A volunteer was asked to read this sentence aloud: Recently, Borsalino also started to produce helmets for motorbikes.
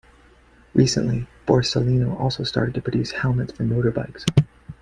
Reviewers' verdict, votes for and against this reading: accepted, 2, 0